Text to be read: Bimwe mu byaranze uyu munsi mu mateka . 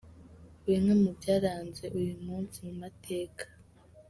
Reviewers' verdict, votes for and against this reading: accepted, 2, 1